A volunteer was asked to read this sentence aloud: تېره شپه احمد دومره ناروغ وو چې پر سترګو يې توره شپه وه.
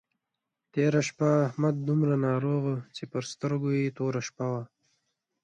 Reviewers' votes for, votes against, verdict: 2, 0, accepted